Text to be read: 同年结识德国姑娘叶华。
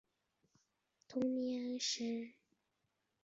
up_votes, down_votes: 0, 5